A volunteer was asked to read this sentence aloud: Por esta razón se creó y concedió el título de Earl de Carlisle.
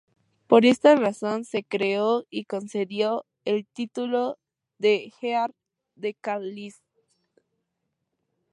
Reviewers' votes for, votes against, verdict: 2, 0, accepted